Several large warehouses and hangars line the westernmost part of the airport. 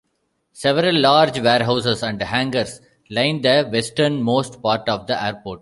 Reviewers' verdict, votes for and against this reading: accepted, 2, 1